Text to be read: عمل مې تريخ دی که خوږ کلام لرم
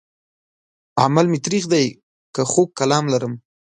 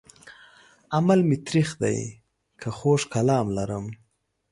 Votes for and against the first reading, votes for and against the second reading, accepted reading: 1, 2, 2, 0, second